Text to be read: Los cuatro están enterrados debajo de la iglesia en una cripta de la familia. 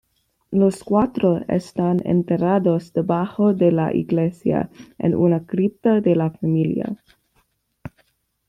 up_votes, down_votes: 1, 2